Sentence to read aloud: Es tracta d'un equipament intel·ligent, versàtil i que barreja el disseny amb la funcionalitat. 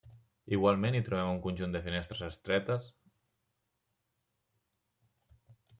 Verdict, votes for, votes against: rejected, 0, 2